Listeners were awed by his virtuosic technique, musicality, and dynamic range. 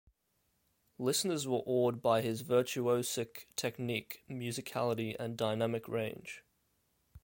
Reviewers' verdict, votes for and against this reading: accepted, 2, 0